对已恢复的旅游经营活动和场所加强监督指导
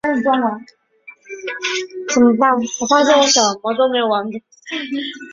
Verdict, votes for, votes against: rejected, 0, 2